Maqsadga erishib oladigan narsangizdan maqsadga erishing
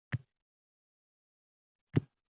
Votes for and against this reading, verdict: 0, 2, rejected